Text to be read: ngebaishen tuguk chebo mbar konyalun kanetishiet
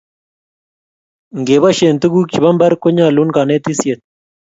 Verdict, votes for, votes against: accepted, 2, 0